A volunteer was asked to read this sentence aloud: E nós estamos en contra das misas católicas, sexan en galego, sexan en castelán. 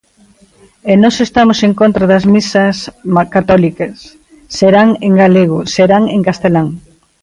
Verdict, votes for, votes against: rejected, 0, 2